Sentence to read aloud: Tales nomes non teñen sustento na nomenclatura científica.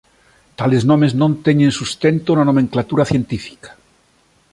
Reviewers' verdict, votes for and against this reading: accepted, 2, 0